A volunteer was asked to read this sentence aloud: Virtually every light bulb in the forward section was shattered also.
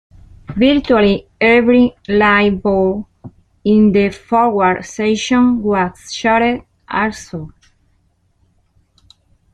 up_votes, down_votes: 2, 0